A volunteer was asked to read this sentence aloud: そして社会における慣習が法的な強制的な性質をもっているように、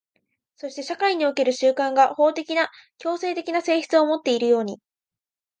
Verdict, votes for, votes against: rejected, 1, 2